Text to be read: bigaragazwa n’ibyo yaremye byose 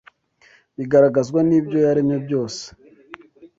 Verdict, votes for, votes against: accepted, 2, 0